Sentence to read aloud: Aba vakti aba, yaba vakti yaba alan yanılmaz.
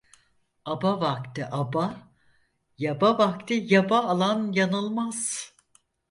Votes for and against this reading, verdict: 4, 0, accepted